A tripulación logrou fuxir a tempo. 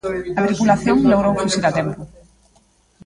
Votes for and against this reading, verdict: 0, 2, rejected